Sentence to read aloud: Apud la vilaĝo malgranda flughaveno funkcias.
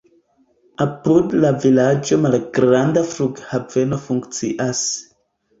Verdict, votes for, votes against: rejected, 1, 2